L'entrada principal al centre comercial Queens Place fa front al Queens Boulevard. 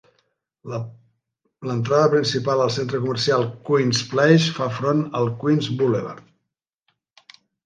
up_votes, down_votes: 0, 2